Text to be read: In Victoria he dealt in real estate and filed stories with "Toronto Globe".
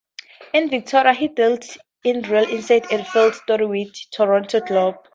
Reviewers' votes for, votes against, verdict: 2, 4, rejected